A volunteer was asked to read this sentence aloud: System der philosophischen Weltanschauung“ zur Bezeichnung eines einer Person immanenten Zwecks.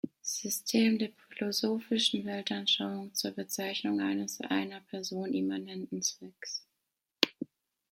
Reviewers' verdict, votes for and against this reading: rejected, 1, 2